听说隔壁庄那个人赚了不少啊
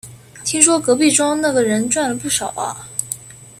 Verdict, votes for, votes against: accepted, 2, 0